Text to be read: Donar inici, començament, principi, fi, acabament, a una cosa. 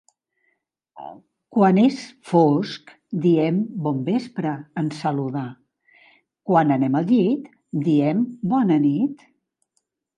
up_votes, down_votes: 0, 2